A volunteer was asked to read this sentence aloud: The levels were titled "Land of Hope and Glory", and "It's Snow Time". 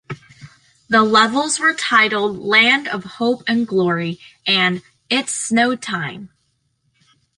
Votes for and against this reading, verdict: 2, 0, accepted